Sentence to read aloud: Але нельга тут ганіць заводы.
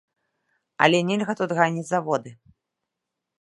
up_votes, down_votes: 2, 0